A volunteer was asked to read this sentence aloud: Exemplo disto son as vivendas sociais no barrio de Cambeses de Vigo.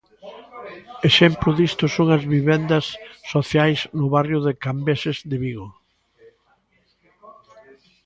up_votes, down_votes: 1, 2